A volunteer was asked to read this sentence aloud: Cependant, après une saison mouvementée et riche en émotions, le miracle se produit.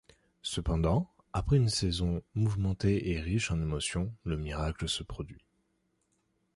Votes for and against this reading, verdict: 2, 0, accepted